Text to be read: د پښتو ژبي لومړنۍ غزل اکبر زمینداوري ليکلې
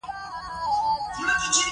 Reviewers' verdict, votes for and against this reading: rejected, 0, 2